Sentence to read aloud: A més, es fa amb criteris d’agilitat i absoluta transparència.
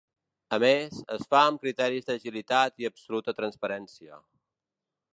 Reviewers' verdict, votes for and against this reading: accepted, 4, 0